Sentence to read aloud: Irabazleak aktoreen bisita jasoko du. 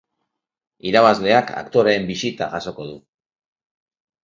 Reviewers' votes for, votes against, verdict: 2, 0, accepted